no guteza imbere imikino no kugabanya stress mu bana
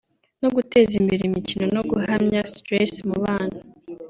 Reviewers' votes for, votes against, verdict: 0, 2, rejected